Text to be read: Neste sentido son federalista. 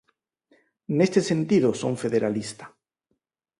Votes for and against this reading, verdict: 4, 0, accepted